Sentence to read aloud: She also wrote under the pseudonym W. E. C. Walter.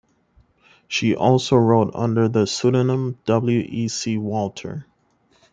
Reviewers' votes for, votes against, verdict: 2, 0, accepted